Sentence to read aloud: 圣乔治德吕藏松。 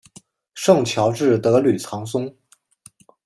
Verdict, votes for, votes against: accepted, 2, 0